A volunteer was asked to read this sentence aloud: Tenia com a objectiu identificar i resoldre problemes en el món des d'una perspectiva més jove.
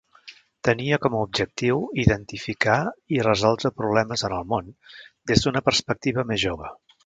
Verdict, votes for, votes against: accepted, 3, 0